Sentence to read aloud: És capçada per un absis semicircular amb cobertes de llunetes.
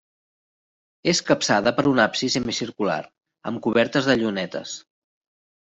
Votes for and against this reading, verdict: 3, 0, accepted